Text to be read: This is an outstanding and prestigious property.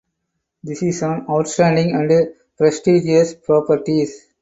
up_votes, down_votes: 2, 4